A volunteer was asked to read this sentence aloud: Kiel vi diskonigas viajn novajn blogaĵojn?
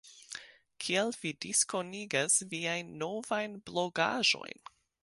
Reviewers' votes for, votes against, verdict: 2, 0, accepted